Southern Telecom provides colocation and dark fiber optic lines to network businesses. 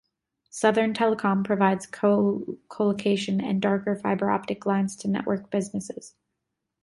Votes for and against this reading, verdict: 0, 2, rejected